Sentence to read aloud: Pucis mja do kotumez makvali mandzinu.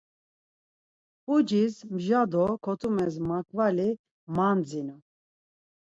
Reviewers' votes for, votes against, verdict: 4, 0, accepted